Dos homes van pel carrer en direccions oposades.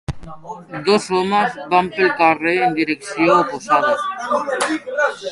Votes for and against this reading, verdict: 0, 2, rejected